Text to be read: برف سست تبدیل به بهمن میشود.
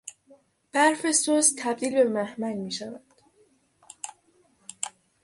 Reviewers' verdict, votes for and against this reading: rejected, 3, 6